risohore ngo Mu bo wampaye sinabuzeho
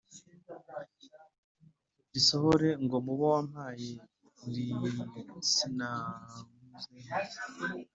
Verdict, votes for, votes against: rejected, 1, 2